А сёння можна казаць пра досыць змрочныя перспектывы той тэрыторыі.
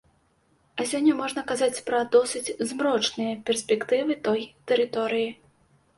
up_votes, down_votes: 2, 0